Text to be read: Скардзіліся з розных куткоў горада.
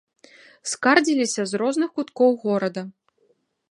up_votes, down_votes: 2, 0